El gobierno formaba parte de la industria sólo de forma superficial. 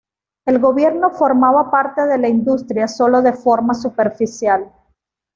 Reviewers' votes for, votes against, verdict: 2, 0, accepted